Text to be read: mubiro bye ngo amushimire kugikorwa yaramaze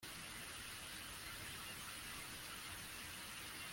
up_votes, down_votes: 0, 2